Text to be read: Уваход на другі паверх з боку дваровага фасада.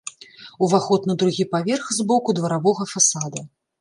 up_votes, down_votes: 1, 2